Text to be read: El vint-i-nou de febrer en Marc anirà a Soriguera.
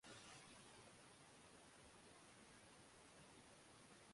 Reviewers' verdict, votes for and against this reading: rejected, 0, 2